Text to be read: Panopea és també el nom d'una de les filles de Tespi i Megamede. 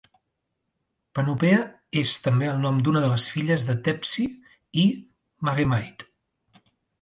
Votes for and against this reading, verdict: 0, 2, rejected